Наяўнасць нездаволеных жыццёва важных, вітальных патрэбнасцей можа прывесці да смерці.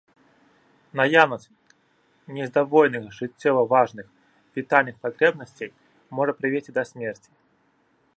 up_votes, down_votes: 1, 2